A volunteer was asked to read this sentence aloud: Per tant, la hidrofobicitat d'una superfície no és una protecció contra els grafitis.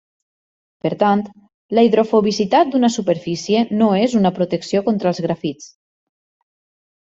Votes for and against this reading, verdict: 1, 2, rejected